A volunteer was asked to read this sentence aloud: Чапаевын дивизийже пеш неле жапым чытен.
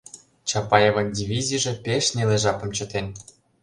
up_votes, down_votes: 2, 0